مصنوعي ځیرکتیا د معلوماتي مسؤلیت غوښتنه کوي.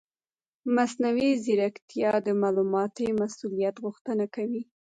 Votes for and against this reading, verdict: 0, 2, rejected